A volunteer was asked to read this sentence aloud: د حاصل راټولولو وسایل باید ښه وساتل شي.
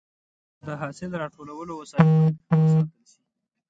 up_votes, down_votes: 1, 2